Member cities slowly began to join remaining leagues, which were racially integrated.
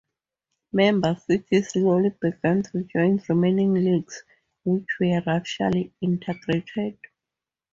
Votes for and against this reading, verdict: 2, 0, accepted